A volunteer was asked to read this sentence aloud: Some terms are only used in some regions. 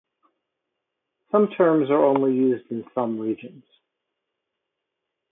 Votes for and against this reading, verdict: 4, 0, accepted